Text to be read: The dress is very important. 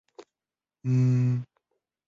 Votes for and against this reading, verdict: 0, 2, rejected